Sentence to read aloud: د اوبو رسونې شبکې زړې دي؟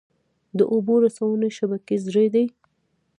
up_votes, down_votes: 2, 0